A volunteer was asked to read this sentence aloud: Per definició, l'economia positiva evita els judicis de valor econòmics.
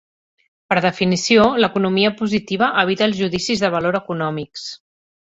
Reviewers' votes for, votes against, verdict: 2, 0, accepted